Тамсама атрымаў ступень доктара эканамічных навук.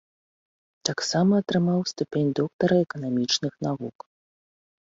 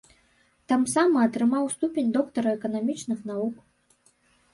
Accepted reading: first